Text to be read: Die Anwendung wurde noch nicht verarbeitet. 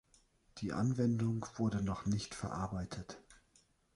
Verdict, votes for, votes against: accepted, 2, 0